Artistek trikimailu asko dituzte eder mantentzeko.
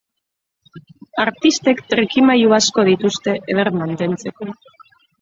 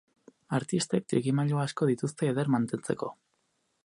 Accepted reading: second